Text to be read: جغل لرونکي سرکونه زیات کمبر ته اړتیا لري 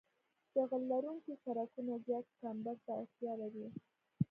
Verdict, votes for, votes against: rejected, 1, 2